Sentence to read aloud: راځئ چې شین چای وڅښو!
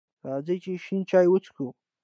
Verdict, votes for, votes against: accepted, 2, 0